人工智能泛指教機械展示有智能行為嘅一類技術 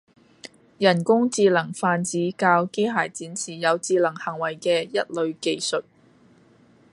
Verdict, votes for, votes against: rejected, 1, 2